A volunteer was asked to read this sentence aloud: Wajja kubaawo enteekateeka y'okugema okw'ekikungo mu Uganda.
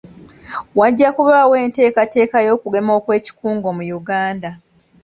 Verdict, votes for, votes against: accepted, 2, 0